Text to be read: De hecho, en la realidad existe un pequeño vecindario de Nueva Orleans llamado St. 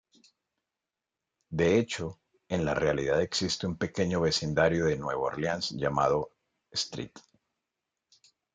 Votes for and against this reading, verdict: 0, 2, rejected